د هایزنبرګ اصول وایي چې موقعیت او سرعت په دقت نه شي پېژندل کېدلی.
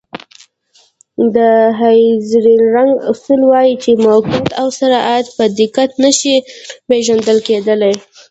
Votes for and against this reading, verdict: 1, 2, rejected